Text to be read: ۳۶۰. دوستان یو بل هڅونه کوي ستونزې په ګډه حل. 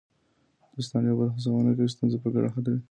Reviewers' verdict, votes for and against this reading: rejected, 0, 2